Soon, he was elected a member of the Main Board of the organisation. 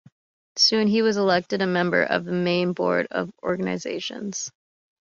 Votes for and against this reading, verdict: 1, 2, rejected